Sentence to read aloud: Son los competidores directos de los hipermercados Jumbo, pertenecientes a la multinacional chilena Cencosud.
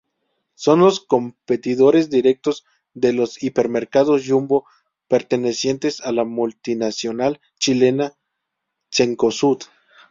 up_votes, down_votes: 2, 0